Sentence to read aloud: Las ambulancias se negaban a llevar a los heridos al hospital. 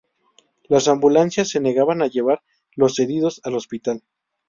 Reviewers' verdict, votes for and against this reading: rejected, 0, 2